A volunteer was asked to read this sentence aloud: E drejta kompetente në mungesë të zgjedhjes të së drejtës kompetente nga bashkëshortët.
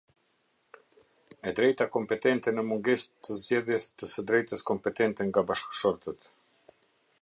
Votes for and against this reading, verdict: 2, 0, accepted